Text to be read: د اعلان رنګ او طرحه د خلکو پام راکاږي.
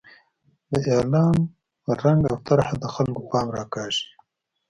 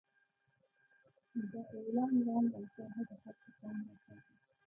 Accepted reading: first